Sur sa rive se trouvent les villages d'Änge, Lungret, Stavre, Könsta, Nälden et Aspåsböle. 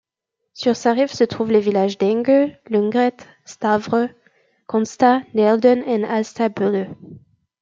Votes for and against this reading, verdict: 1, 2, rejected